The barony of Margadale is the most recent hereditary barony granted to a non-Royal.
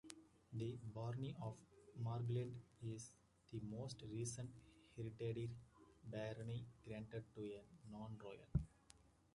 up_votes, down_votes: 1, 2